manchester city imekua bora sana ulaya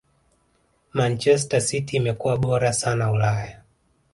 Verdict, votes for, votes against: rejected, 1, 2